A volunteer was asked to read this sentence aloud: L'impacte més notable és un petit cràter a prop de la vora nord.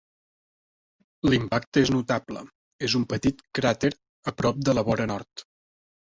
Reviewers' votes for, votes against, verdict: 0, 2, rejected